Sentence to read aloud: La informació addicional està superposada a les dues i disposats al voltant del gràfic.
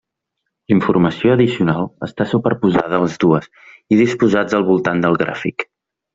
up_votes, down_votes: 2, 0